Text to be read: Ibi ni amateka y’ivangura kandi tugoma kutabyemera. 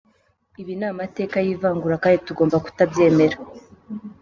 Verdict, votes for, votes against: accepted, 2, 1